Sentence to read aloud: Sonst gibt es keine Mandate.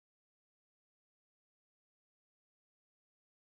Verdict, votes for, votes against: rejected, 0, 2